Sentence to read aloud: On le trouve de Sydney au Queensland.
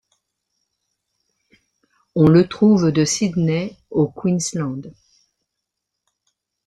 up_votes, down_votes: 2, 0